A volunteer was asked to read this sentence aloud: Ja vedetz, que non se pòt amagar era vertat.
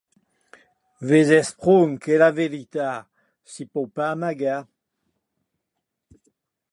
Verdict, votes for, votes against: rejected, 0, 2